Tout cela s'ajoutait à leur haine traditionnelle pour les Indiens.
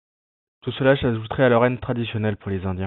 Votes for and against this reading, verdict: 0, 2, rejected